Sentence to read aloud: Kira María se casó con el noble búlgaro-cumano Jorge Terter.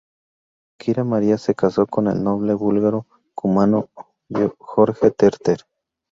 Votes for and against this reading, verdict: 2, 0, accepted